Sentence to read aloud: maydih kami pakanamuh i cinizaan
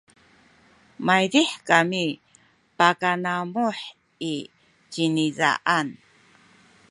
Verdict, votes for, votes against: accepted, 2, 0